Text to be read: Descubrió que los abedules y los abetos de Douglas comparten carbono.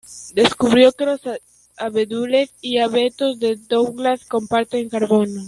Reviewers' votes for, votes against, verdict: 0, 2, rejected